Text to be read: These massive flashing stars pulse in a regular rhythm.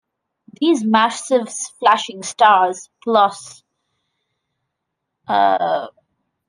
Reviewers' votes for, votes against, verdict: 0, 2, rejected